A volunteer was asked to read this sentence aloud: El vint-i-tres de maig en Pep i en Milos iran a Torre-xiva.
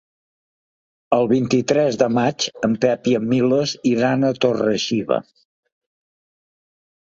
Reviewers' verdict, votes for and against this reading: accepted, 3, 0